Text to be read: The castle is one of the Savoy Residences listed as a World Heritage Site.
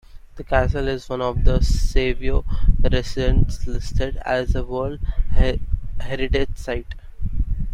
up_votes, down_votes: 0, 2